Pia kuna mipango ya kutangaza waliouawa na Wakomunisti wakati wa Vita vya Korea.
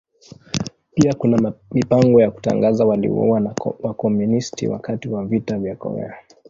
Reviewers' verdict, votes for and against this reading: rejected, 0, 2